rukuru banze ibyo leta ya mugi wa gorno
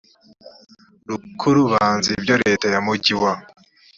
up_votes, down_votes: 0, 2